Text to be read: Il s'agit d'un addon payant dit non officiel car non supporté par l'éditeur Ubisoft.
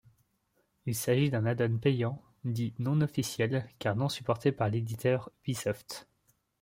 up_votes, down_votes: 2, 1